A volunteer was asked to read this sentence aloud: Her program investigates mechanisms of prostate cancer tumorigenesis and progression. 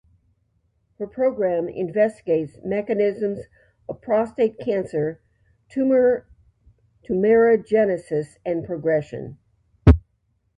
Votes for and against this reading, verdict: 0, 2, rejected